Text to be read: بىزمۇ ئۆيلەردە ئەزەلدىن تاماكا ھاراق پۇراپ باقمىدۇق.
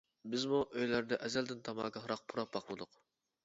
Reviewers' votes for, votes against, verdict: 2, 0, accepted